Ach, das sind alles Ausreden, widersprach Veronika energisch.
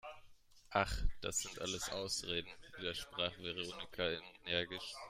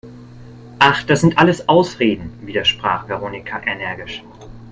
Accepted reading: second